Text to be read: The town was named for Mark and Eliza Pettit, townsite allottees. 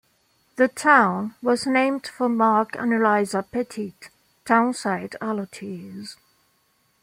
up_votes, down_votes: 2, 0